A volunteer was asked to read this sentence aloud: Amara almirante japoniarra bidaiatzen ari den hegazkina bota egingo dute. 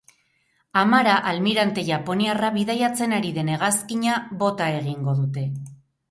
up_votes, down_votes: 8, 0